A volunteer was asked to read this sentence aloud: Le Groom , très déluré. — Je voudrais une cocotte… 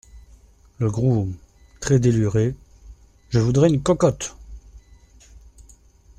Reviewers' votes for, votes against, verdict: 2, 0, accepted